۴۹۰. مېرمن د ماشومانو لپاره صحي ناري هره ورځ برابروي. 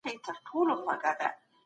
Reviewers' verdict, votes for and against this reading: rejected, 0, 2